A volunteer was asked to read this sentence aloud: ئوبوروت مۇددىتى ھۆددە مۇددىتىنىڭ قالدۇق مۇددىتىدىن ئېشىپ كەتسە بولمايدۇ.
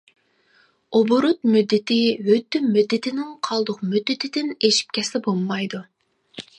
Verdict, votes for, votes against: rejected, 1, 2